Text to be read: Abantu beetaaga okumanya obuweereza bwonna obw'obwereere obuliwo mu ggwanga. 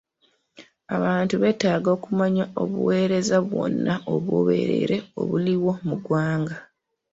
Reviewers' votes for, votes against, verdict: 2, 0, accepted